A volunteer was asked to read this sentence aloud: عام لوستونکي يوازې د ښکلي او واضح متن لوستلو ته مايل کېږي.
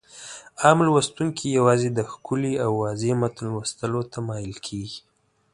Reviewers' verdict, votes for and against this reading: accepted, 2, 0